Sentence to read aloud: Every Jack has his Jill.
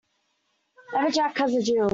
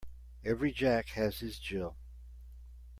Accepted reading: second